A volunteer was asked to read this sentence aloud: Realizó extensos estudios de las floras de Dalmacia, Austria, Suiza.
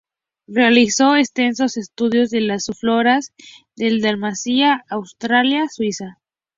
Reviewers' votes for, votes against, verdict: 0, 2, rejected